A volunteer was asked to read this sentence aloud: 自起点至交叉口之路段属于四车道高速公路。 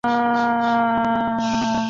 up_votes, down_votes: 0, 2